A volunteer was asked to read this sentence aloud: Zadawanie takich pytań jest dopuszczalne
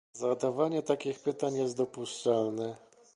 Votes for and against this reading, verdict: 2, 1, accepted